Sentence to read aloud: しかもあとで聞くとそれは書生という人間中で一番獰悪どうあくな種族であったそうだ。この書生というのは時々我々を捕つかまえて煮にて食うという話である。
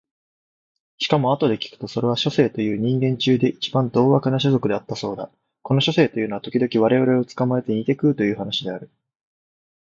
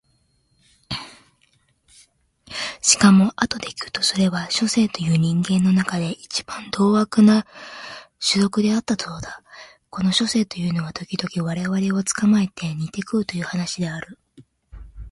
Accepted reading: first